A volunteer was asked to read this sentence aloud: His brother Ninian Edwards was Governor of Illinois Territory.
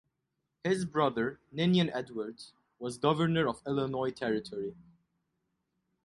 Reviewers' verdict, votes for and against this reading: accepted, 4, 0